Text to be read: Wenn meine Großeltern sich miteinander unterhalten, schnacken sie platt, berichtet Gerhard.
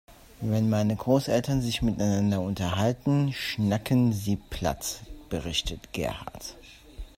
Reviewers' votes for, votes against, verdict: 2, 1, accepted